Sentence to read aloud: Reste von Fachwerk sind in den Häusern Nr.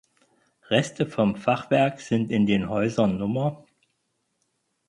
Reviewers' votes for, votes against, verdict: 4, 2, accepted